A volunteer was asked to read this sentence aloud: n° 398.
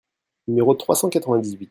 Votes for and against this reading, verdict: 0, 2, rejected